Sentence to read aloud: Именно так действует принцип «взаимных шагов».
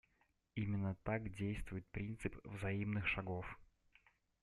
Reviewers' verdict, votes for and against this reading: accepted, 2, 0